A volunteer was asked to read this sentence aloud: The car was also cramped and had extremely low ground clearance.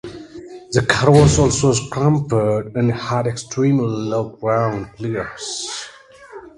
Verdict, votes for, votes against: accepted, 2, 0